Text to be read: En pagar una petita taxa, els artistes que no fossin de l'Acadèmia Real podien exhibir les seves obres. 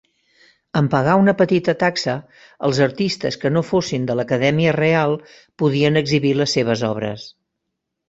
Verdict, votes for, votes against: accepted, 3, 0